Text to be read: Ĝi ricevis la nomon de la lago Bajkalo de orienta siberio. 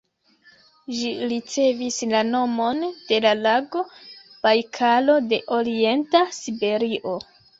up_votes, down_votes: 1, 2